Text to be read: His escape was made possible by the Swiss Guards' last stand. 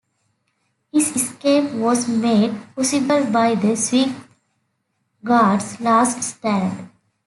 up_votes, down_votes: 2, 0